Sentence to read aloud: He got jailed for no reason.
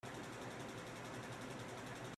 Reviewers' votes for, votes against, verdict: 0, 3, rejected